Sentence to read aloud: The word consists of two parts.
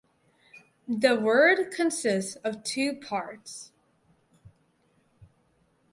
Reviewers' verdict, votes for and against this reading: rejected, 4, 6